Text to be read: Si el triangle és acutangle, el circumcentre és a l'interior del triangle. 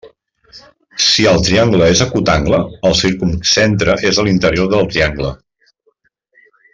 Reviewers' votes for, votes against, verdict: 2, 0, accepted